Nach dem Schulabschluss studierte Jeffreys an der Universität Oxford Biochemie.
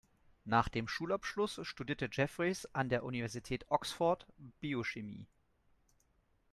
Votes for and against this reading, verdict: 2, 1, accepted